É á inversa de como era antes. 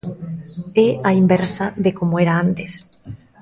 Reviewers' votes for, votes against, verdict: 2, 0, accepted